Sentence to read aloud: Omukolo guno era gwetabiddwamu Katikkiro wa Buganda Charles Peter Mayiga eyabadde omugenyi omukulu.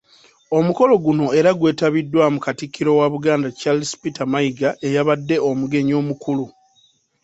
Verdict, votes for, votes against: rejected, 1, 2